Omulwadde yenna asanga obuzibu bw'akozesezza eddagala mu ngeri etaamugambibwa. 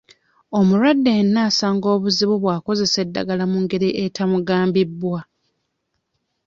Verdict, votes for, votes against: rejected, 0, 2